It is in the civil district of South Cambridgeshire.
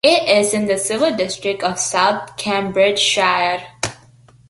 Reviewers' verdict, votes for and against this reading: accepted, 2, 1